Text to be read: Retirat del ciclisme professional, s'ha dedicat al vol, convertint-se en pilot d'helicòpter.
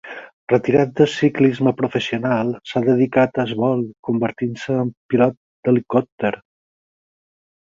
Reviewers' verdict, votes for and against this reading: rejected, 2, 4